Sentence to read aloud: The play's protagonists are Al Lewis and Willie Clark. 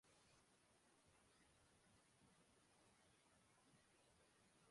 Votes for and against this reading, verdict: 0, 2, rejected